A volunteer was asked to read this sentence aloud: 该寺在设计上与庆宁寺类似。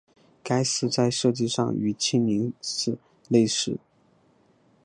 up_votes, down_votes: 5, 0